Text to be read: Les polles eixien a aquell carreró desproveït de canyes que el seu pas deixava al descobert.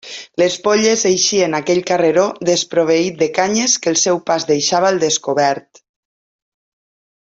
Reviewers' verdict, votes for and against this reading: accepted, 2, 0